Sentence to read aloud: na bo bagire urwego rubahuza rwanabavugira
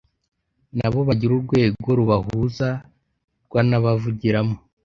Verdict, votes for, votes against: rejected, 1, 2